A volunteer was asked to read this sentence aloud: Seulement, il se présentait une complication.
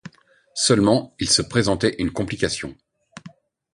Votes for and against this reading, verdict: 2, 0, accepted